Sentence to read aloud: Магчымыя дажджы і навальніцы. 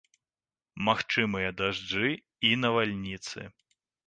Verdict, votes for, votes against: accepted, 2, 0